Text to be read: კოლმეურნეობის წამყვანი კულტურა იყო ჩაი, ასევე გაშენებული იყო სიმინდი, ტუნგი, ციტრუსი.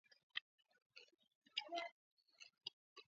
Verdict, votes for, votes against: rejected, 2, 3